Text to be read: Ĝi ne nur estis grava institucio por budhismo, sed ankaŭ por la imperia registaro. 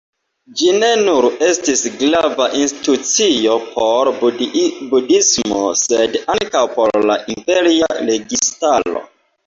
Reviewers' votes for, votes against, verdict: 2, 0, accepted